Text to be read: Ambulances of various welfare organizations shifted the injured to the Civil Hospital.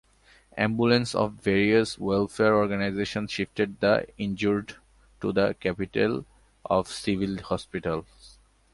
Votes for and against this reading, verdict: 1, 2, rejected